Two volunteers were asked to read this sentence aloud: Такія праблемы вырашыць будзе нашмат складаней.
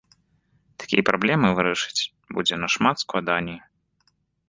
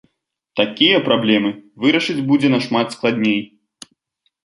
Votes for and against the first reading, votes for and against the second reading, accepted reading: 2, 0, 0, 2, first